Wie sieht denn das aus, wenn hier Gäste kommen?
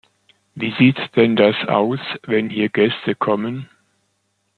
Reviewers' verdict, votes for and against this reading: rejected, 0, 2